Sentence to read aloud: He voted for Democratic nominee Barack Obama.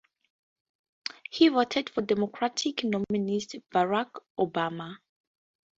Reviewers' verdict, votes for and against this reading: accepted, 2, 0